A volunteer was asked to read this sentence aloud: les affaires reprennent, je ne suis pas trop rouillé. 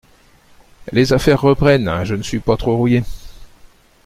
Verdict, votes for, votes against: accepted, 2, 0